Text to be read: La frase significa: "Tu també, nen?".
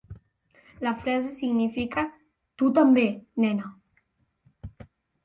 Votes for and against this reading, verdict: 0, 2, rejected